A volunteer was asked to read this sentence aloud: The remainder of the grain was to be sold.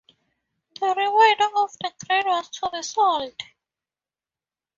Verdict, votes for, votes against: accepted, 2, 0